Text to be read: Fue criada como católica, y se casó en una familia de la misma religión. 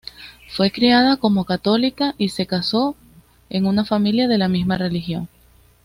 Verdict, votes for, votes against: accepted, 2, 0